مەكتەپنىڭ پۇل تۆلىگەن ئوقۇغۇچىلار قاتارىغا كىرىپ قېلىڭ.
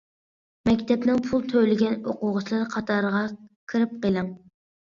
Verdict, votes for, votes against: accepted, 2, 0